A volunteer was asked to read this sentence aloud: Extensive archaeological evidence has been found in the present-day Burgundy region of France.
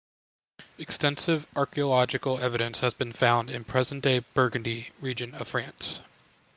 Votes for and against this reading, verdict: 0, 2, rejected